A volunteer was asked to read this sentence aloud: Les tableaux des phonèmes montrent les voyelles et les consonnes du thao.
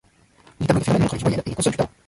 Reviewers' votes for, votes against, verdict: 0, 2, rejected